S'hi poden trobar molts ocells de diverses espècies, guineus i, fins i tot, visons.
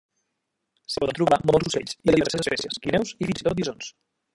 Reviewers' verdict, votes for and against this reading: rejected, 0, 2